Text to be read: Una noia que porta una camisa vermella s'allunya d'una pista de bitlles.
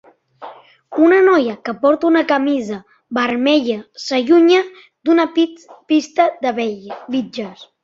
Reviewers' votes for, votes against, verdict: 0, 2, rejected